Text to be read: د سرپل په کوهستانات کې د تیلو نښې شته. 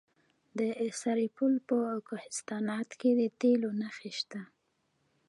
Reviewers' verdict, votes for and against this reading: rejected, 1, 2